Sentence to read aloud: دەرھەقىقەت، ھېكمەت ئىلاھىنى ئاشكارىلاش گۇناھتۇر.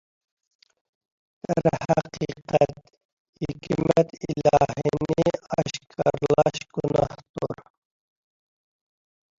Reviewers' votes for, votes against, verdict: 1, 2, rejected